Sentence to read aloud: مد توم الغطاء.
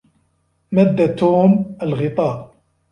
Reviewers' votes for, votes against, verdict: 2, 0, accepted